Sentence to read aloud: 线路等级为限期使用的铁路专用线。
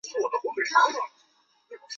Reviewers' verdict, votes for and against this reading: rejected, 1, 6